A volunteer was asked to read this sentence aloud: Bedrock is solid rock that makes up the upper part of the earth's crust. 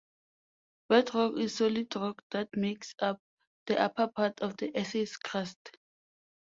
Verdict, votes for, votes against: rejected, 1, 2